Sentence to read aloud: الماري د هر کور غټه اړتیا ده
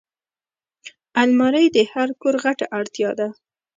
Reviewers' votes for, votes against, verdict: 1, 2, rejected